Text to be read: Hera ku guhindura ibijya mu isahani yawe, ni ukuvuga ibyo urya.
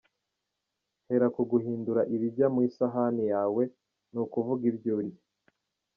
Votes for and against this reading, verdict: 1, 2, rejected